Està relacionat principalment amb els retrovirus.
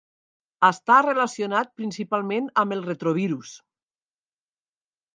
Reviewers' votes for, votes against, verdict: 3, 1, accepted